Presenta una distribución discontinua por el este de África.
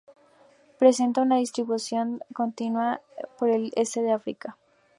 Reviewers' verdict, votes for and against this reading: rejected, 0, 2